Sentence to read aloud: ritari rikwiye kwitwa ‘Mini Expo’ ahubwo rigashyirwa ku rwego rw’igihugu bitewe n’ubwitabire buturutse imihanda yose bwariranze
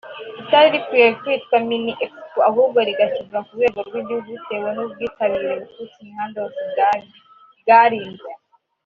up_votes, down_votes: 1, 3